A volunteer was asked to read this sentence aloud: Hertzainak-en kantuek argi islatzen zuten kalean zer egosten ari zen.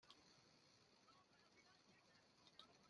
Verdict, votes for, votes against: rejected, 0, 2